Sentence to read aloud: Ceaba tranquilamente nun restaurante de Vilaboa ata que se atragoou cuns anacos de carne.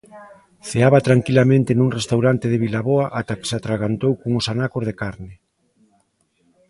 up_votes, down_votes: 0, 2